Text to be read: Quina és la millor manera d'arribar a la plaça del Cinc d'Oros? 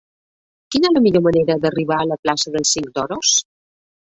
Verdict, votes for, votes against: rejected, 0, 2